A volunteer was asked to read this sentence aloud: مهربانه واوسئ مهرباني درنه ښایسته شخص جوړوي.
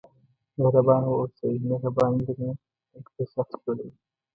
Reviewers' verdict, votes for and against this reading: rejected, 1, 2